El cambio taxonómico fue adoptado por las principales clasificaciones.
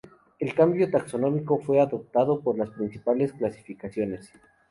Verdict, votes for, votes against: rejected, 0, 2